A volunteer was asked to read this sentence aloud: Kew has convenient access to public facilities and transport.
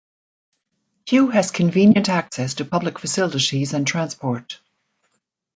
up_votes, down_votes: 2, 1